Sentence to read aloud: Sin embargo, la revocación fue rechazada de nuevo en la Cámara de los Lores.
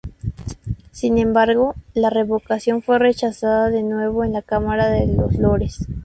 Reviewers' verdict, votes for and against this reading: accepted, 2, 0